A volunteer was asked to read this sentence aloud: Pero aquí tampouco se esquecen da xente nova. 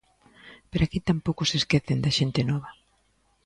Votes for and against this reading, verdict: 2, 0, accepted